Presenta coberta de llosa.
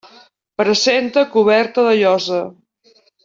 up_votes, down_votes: 3, 0